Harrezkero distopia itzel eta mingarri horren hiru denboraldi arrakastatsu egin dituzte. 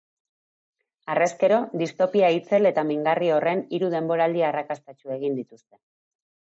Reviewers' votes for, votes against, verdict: 2, 0, accepted